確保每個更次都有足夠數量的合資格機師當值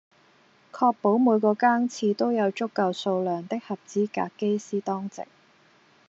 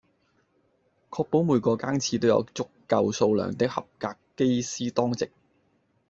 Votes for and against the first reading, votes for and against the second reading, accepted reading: 2, 0, 1, 2, first